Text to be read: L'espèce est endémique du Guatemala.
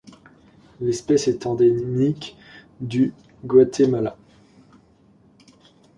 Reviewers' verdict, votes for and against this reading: accepted, 2, 0